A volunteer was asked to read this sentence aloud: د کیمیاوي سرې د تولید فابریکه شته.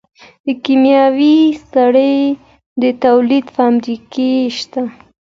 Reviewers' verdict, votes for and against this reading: rejected, 1, 2